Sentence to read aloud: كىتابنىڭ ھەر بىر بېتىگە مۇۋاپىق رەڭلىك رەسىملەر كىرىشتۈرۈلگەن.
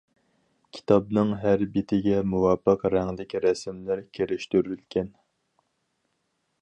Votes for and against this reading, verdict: 2, 2, rejected